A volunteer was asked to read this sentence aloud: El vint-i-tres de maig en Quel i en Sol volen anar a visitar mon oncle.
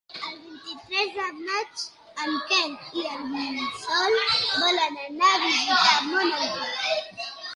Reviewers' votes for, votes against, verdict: 3, 2, accepted